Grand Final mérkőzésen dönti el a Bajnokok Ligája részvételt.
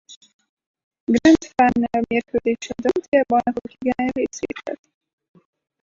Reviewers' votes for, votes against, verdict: 0, 4, rejected